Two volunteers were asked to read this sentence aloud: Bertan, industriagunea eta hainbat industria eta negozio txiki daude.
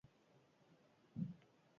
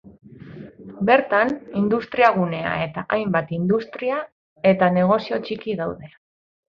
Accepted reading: second